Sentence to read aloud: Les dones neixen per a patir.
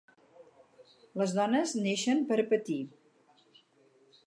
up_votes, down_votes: 0, 2